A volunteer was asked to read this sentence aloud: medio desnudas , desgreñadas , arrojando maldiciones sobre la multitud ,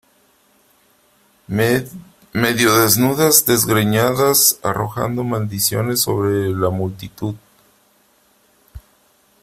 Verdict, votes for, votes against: rejected, 1, 2